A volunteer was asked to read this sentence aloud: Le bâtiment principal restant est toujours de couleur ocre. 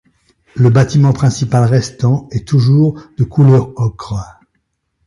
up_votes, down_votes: 2, 0